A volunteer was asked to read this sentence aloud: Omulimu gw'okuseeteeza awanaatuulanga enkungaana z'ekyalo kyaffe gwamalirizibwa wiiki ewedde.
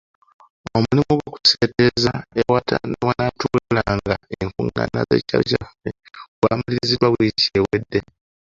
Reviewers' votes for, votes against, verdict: 0, 3, rejected